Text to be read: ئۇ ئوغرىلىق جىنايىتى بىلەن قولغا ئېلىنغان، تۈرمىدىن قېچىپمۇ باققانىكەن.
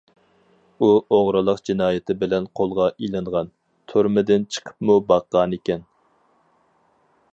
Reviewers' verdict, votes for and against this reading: rejected, 2, 4